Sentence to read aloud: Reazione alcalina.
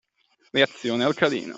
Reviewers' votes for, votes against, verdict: 1, 2, rejected